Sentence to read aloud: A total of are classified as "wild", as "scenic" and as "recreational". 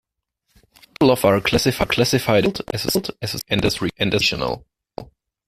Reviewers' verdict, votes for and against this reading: rejected, 0, 2